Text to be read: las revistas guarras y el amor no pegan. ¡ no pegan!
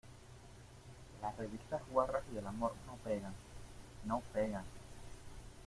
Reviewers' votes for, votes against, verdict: 1, 2, rejected